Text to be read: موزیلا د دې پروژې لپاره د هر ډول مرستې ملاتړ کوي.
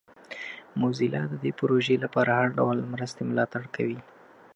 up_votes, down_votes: 2, 0